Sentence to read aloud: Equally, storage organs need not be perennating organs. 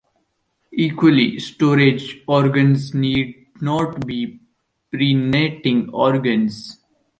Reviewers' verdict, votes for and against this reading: accepted, 2, 0